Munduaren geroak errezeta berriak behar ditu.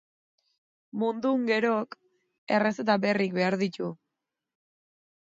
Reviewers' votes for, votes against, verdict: 0, 2, rejected